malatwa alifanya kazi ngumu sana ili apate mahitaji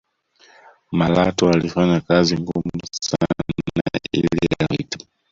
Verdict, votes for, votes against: rejected, 0, 2